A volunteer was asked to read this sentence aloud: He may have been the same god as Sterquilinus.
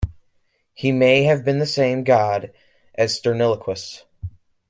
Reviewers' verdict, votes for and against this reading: rejected, 1, 2